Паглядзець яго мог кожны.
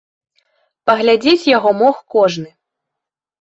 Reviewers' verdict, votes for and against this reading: accepted, 2, 0